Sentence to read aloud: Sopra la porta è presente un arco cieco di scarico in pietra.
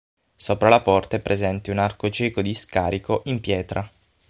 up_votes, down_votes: 6, 0